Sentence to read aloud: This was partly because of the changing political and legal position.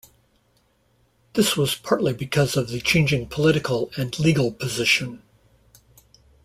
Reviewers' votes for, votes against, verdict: 2, 0, accepted